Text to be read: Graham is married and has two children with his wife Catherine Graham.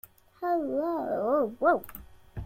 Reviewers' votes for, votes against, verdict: 0, 2, rejected